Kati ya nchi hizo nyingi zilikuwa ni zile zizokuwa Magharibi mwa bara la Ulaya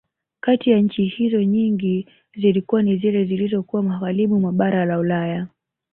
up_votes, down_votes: 3, 1